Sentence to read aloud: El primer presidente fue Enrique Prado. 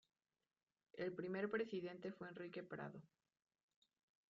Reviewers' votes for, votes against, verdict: 1, 2, rejected